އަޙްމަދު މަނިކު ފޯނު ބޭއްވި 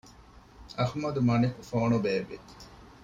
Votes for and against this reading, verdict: 2, 0, accepted